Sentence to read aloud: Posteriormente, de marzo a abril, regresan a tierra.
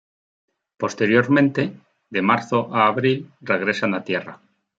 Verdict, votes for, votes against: accepted, 2, 1